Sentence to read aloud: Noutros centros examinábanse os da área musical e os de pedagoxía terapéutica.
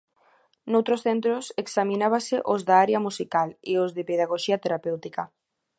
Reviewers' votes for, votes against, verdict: 1, 2, rejected